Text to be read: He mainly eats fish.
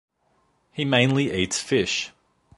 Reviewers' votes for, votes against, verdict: 2, 0, accepted